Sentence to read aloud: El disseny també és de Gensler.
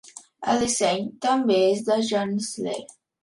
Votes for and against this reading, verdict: 0, 2, rejected